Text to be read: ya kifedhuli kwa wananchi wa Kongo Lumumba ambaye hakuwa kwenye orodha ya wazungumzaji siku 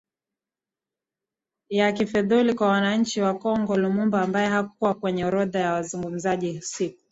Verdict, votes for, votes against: rejected, 0, 2